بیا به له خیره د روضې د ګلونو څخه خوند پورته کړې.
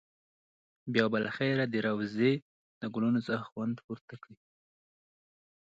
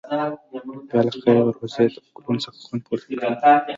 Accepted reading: first